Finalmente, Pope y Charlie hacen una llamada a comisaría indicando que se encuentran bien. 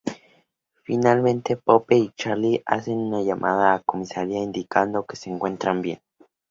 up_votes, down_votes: 4, 0